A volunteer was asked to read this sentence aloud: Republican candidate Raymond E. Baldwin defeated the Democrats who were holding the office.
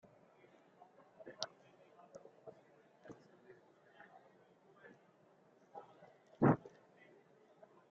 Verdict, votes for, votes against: rejected, 0, 2